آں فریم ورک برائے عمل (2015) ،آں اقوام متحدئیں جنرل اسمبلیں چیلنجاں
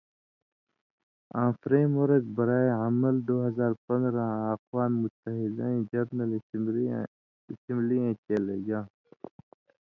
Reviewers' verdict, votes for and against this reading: rejected, 0, 2